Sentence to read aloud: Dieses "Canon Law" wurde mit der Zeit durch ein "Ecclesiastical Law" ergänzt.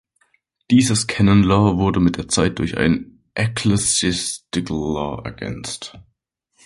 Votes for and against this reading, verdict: 0, 2, rejected